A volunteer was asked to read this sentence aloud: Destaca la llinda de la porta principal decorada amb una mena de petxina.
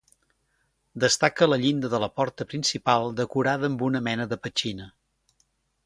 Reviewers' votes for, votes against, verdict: 3, 0, accepted